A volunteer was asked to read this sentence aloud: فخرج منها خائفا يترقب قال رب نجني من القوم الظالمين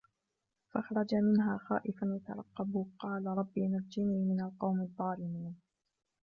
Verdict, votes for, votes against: rejected, 0, 2